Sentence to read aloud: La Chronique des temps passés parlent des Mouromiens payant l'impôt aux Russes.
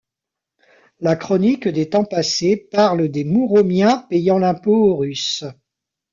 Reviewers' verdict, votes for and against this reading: rejected, 1, 2